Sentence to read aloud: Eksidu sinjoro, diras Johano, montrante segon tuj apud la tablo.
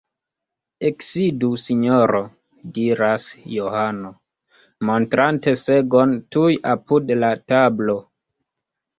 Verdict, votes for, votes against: rejected, 1, 2